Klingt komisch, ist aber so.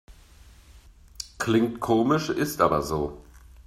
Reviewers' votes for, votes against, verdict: 2, 0, accepted